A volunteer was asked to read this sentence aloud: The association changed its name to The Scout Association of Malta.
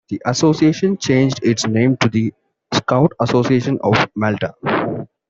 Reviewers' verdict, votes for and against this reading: accepted, 2, 0